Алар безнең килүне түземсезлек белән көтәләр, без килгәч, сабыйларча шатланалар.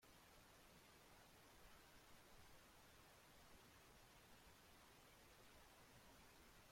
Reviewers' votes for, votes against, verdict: 0, 2, rejected